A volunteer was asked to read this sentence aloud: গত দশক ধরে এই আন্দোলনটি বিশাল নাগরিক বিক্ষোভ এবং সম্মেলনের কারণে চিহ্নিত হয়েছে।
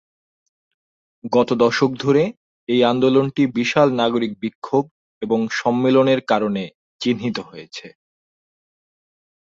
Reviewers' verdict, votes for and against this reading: accepted, 2, 0